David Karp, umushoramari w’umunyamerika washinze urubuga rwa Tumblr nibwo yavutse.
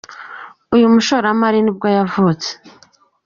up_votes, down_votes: 0, 2